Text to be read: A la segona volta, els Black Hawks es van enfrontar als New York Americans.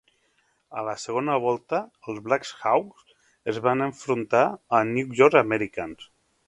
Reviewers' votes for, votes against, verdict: 2, 0, accepted